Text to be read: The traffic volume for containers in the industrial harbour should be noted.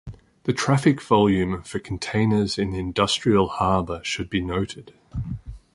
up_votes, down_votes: 2, 0